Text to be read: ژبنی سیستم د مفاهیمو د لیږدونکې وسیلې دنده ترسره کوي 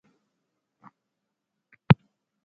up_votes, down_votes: 0, 2